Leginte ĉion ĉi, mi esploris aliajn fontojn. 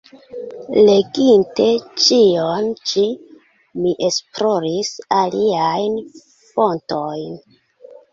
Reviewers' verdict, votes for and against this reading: accepted, 2, 1